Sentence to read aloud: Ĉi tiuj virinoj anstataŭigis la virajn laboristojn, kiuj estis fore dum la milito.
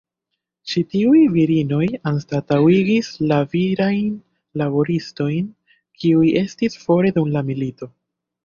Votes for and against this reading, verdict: 3, 1, accepted